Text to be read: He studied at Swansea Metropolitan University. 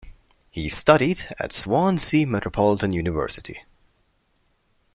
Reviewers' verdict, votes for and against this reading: accepted, 2, 0